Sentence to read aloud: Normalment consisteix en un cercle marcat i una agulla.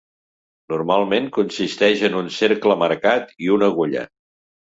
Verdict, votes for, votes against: accepted, 2, 0